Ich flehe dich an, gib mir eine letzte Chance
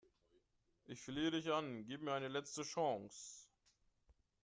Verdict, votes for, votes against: accepted, 3, 1